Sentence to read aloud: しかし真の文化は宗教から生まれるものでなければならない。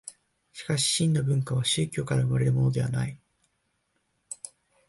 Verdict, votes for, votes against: rejected, 0, 2